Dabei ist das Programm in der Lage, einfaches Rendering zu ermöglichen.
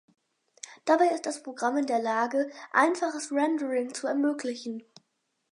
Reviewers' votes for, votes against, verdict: 6, 0, accepted